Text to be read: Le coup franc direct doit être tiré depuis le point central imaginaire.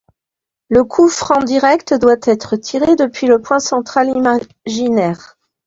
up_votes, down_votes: 1, 2